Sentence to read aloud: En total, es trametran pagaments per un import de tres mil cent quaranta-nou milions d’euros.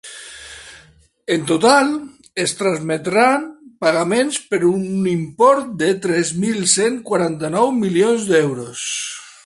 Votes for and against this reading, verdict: 3, 0, accepted